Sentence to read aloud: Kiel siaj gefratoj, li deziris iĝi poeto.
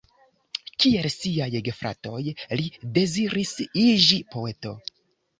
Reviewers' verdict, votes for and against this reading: accepted, 3, 0